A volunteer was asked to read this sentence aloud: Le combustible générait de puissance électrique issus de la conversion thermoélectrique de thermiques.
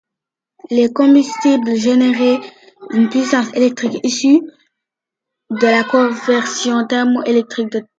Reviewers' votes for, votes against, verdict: 1, 2, rejected